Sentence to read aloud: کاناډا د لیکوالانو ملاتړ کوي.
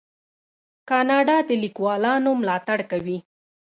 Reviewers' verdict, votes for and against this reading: rejected, 0, 2